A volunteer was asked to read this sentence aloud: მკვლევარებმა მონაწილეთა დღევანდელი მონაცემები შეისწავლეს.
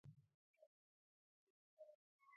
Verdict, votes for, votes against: rejected, 1, 2